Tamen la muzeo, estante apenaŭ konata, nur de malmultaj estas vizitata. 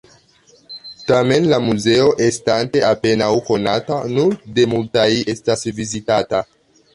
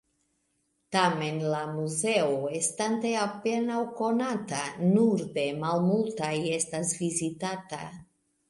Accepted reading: second